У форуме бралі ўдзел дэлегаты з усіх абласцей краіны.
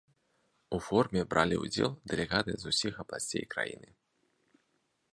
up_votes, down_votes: 2, 0